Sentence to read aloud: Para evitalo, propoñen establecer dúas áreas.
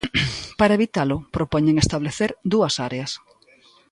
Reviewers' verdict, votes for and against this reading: accepted, 2, 0